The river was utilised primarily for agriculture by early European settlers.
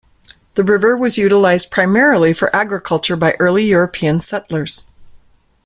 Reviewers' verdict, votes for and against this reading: rejected, 1, 2